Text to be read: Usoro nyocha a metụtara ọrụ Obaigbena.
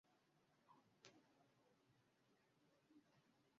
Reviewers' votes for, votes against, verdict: 0, 2, rejected